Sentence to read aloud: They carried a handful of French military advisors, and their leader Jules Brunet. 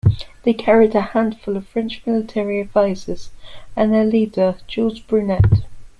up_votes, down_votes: 2, 0